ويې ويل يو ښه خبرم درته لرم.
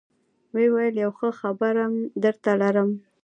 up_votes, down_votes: 2, 0